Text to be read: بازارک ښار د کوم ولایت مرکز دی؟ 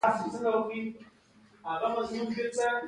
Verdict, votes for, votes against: accepted, 2, 0